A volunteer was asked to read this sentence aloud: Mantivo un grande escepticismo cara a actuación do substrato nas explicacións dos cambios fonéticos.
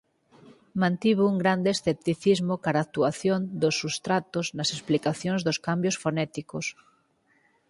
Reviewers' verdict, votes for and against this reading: rejected, 2, 4